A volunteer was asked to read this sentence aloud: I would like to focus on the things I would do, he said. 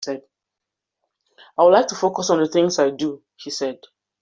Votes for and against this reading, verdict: 2, 1, accepted